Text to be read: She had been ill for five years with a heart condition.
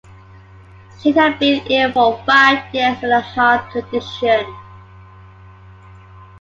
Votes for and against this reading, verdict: 2, 1, accepted